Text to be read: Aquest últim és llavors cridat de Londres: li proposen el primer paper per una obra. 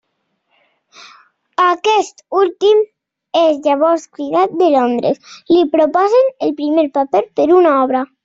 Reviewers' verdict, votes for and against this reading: accepted, 3, 0